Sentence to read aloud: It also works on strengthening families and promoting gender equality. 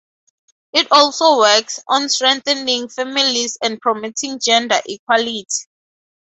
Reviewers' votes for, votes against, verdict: 2, 0, accepted